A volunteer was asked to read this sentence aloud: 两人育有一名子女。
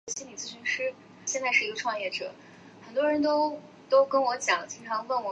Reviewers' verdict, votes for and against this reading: rejected, 0, 2